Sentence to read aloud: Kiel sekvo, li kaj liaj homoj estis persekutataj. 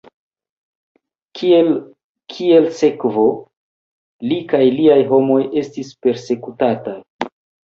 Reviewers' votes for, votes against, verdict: 1, 2, rejected